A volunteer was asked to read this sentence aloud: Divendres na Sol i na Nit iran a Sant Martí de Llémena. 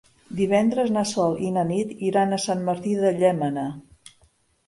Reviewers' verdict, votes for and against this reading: accepted, 2, 0